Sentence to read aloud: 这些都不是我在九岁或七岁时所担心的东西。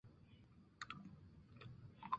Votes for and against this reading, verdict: 0, 2, rejected